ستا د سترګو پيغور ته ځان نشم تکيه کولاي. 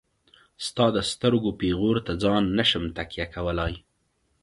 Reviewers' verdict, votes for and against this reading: accepted, 2, 0